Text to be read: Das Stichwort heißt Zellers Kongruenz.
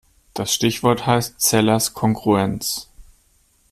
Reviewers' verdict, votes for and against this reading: accepted, 2, 1